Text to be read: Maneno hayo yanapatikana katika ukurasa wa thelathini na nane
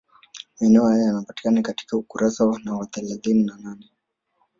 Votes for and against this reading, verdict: 2, 1, accepted